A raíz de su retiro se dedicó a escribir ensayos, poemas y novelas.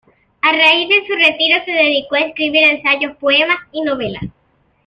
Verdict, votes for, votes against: rejected, 0, 2